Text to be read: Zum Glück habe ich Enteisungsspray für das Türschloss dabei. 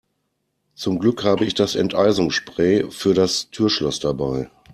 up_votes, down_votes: 1, 2